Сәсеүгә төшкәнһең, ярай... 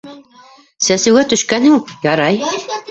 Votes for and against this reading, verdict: 0, 2, rejected